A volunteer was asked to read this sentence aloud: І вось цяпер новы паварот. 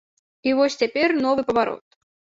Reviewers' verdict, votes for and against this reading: accepted, 2, 0